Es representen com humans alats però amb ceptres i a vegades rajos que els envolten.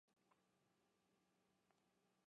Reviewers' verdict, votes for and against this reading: rejected, 0, 2